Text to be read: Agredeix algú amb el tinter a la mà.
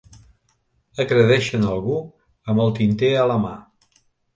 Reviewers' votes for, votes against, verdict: 0, 2, rejected